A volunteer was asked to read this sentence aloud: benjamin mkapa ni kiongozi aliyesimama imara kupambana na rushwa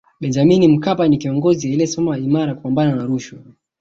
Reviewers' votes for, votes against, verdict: 2, 1, accepted